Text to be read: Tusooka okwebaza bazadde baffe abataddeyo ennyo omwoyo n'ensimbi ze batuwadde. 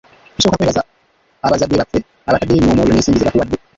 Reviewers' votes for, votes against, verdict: 0, 2, rejected